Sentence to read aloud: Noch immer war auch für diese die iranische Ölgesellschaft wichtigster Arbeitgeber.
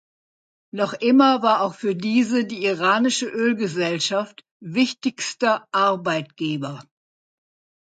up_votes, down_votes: 2, 0